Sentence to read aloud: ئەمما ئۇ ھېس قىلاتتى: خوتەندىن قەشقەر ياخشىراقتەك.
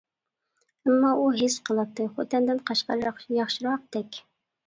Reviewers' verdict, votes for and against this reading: rejected, 1, 2